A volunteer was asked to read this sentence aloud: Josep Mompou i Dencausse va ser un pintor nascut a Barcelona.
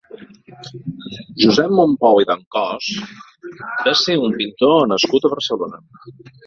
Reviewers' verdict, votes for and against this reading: accepted, 2, 0